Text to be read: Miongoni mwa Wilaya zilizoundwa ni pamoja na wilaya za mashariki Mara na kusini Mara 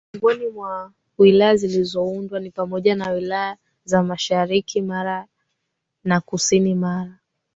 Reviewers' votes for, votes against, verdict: 2, 0, accepted